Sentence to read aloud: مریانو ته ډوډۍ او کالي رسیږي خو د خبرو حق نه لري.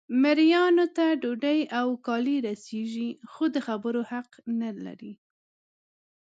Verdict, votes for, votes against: rejected, 0, 2